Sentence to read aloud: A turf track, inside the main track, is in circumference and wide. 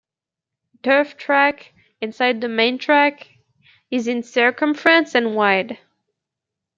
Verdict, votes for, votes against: accepted, 2, 0